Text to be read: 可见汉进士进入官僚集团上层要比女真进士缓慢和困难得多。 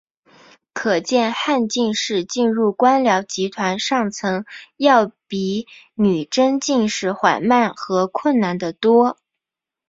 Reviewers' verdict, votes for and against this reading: accepted, 2, 0